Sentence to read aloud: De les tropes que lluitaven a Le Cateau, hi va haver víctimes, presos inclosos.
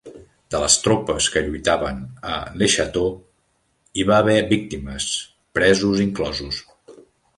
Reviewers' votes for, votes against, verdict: 1, 2, rejected